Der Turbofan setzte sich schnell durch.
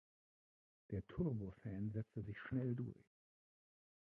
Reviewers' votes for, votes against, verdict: 0, 2, rejected